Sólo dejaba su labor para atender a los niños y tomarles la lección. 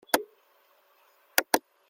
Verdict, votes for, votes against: rejected, 0, 2